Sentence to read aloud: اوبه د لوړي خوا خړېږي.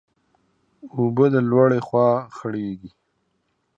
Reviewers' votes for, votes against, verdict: 2, 0, accepted